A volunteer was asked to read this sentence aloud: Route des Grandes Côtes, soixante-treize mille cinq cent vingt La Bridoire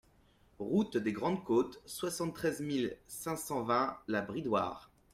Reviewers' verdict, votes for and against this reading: accepted, 2, 0